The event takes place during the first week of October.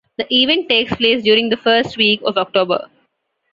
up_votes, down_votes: 2, 1